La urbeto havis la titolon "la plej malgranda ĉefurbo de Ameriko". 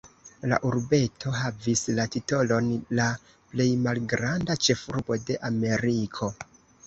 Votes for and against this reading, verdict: 2, 0, accepted